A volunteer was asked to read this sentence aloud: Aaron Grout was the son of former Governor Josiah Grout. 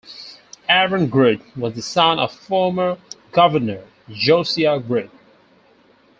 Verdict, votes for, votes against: rejected, 0, 2